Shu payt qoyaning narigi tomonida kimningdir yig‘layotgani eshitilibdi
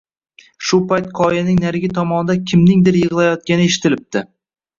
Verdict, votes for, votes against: accepted, 2, 0